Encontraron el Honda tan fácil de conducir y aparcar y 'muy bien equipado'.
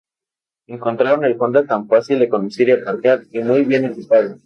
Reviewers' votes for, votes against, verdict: 6, 0, accepted